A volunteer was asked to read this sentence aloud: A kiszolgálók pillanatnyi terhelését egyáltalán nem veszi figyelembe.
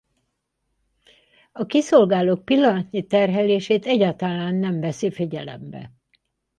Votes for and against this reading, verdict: 0, 4, rejected